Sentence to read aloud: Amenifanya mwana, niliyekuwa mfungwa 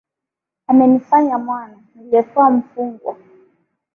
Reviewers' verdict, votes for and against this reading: accepted, 2, 0